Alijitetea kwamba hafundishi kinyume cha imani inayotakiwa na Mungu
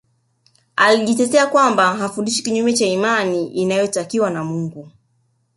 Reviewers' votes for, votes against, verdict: 2, 0, accepted